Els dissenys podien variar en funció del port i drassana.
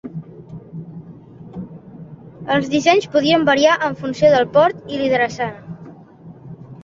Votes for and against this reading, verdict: 0, 2, rejected